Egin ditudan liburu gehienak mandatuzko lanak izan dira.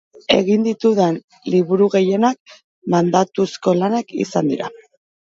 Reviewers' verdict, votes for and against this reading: accepted, 2, 0